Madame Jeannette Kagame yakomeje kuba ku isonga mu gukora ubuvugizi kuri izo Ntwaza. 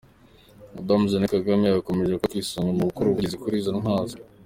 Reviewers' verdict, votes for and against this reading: rejected, 1, 2